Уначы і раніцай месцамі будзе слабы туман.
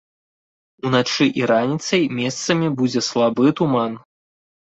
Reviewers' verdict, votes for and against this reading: accepted, 2, 0